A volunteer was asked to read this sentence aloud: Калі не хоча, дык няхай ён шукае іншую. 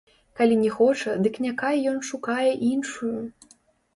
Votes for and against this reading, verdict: 1, 2, rejected